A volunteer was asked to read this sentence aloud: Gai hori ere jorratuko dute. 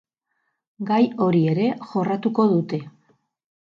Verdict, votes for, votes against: rejected, 0, 2